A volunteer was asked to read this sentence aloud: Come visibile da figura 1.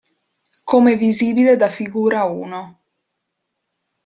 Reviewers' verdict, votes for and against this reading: rejected, 0, 2